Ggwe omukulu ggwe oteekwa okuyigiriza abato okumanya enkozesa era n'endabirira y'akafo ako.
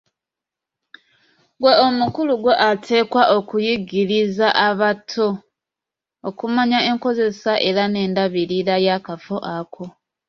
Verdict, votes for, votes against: rejected, 1, 2